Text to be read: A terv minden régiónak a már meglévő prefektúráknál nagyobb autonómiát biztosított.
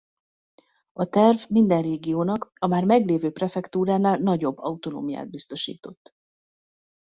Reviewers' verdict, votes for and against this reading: rejected, 0, 2